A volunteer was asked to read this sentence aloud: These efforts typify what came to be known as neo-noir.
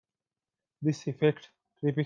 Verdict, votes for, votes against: rejected, 0, 2